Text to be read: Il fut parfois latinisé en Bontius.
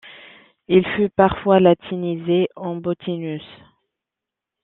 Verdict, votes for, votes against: rejected, 1, 2